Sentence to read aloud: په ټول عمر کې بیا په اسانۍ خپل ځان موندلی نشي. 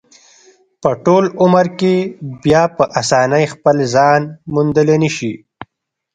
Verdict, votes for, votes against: accepted, 2, 0